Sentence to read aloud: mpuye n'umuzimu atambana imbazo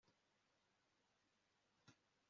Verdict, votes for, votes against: rejected, 1, 2